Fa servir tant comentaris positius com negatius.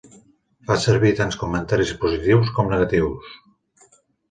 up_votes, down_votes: 3, 1